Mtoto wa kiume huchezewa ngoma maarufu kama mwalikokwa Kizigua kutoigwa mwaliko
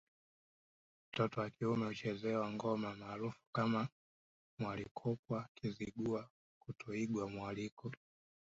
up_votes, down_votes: 2, 0